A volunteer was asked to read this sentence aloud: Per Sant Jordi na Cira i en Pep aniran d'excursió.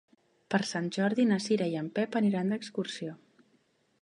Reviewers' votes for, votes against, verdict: 3, 0, accepted